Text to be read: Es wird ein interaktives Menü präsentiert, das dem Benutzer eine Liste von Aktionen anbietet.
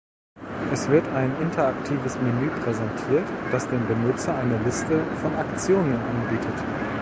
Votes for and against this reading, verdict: 0, 2, rejected